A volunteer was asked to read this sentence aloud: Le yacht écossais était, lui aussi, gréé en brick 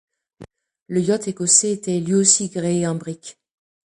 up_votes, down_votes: 2, 0